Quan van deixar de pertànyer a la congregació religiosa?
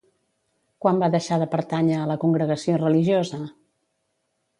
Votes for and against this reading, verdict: 0, 2, rejected